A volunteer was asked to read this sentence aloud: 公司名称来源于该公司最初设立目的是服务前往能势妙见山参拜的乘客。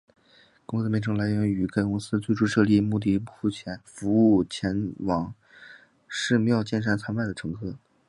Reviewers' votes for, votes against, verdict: 3, 0, accepted